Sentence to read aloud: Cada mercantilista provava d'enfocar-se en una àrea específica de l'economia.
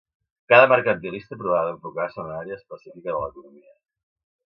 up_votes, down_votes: 2, 0